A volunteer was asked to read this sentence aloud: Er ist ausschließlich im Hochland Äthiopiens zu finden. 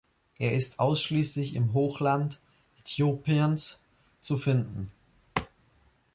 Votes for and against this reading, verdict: 2, 1, accepted